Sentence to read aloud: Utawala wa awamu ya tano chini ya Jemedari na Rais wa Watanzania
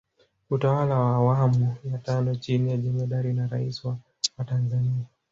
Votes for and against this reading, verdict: 2, 0, accepted